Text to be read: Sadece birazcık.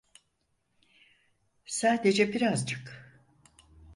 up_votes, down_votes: 4, 0